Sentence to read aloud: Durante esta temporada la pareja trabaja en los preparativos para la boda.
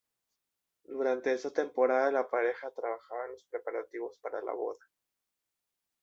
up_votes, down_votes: 0, 2